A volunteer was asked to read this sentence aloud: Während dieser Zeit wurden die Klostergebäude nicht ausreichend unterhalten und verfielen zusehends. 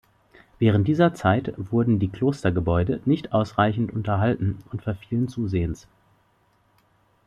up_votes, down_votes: 2, 0